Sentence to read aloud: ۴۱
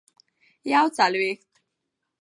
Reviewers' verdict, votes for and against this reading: rejected, 0, 2